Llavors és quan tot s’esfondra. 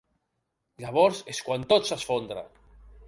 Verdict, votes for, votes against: accepted, 3, 0